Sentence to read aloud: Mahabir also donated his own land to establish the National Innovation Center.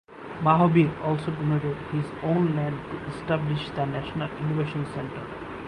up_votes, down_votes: 4, 0